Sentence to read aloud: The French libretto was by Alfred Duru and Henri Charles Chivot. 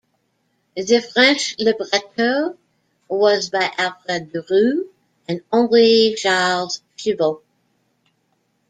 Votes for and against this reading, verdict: 0, 2, rejected